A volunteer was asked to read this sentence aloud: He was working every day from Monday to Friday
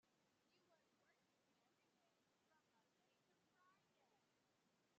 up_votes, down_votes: 0, 2